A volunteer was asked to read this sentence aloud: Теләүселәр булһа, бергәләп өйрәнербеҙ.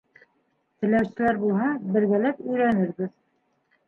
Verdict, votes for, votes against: accepted, 2, 0